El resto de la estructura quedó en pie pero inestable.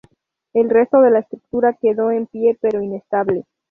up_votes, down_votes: 0, 2